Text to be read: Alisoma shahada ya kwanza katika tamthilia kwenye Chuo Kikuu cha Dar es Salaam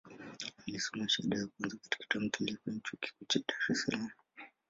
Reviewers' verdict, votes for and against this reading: rejected, 0, 2